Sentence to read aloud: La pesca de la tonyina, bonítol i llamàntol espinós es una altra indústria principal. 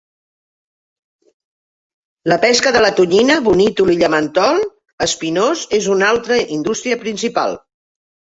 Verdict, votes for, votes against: rejected, 0, 2